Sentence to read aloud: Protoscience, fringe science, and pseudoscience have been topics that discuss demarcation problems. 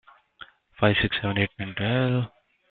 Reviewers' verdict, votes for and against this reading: rejected, 0, 2